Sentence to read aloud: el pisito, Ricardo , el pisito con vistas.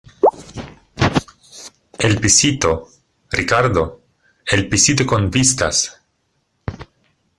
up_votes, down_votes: 1, 2